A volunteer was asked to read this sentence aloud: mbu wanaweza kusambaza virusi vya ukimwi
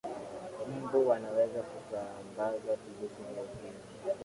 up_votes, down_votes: 2, 0